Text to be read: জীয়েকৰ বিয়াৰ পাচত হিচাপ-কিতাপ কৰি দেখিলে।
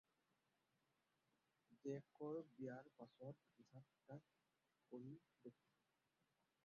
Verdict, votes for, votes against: rejected, 0, 4